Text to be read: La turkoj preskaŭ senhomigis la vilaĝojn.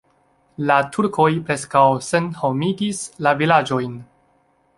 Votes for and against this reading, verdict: 2, 0, accepted